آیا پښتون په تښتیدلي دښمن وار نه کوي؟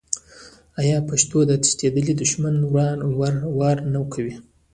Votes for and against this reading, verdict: 1, 2, rejected